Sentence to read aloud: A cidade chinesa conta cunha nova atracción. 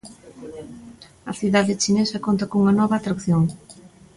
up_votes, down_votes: 2, 0